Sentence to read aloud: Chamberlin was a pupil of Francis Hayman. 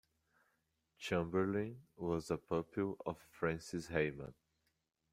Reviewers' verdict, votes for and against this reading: rejected, 1, 2